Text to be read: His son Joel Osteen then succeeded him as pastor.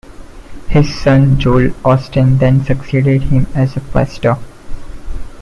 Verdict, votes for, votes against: rejected, 1, 2